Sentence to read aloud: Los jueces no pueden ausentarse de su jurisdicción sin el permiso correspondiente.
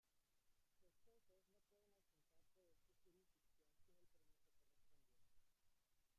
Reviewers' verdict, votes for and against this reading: rejected, 0, 2